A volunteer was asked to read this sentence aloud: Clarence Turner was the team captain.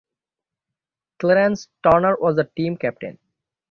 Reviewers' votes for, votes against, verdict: 6, 0, accepted